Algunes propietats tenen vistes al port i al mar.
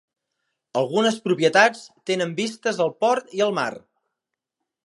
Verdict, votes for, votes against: accepted, 3, 0